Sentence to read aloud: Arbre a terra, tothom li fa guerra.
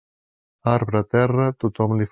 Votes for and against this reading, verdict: 0, 2, rejected